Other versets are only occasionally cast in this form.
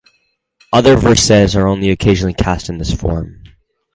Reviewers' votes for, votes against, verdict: 4, 0, accepted